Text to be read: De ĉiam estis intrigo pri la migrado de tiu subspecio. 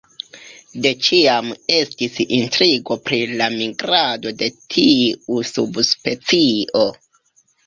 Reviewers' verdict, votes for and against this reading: accepted, 3, 1